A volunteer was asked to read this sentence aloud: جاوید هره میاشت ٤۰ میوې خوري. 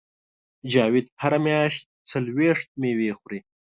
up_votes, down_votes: 0, 2